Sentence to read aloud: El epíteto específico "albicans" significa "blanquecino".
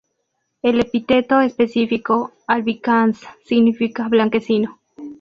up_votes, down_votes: 2, 0